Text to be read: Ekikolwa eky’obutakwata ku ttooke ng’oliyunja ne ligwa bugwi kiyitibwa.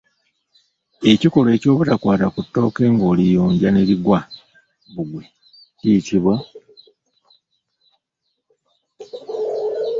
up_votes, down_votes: 1, 2